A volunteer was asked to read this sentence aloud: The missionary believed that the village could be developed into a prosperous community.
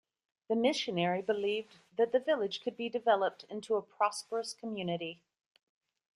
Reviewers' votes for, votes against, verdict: 2, 0, accepted